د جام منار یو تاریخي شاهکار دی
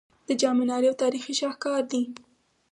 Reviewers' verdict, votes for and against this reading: rejected, 2, 4